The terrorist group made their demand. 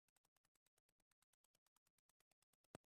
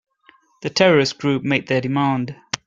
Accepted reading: second